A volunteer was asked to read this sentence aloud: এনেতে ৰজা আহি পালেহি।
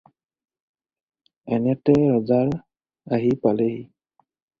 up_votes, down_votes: 0, 4